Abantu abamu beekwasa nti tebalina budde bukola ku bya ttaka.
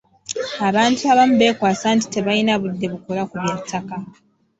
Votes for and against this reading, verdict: 1, 2, rejected